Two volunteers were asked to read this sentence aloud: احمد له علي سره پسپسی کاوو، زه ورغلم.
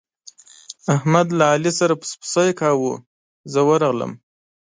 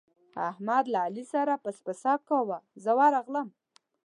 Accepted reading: first